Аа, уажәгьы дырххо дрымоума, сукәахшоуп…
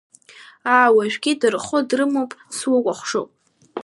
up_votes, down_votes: 0, 2